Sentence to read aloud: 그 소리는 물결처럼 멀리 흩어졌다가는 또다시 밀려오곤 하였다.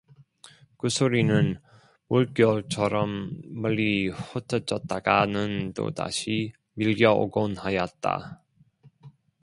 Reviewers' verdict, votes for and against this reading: rejected, 0, 2